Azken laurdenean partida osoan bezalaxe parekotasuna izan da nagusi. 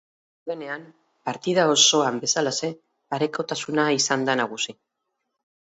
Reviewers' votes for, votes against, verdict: 2, 4, rejected